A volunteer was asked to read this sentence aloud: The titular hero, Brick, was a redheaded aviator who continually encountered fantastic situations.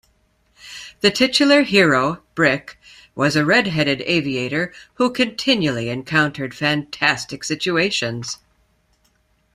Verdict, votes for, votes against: accepted, 2, 0